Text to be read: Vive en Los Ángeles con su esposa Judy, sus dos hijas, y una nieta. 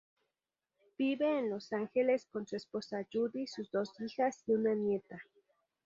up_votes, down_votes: 0, 2